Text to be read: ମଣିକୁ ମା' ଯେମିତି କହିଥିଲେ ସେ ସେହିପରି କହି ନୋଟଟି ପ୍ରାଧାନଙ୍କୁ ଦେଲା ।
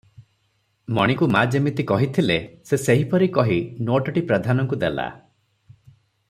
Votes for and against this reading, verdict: 3, 0, accepted